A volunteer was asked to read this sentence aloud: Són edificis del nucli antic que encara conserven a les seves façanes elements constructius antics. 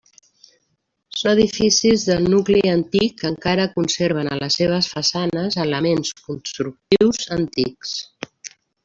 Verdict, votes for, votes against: rejected, 1, 2